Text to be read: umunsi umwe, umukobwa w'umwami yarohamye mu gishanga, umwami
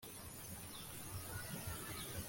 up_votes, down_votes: 0, 2